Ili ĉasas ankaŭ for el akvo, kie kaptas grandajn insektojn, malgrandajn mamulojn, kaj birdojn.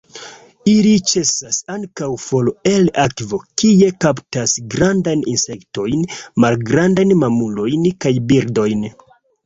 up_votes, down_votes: 0, 3